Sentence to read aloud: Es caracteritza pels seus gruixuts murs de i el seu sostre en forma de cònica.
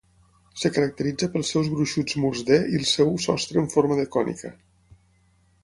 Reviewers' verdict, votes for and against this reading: rejected, 3, 6